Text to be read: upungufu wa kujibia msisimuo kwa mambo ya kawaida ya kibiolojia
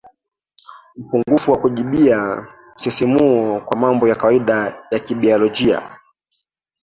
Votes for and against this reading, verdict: 1, 2, rejected